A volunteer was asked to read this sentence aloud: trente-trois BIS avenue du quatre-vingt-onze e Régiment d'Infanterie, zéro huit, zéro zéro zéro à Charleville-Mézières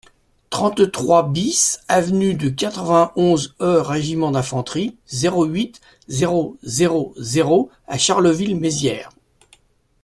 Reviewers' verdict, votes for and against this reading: rejected, 1, 2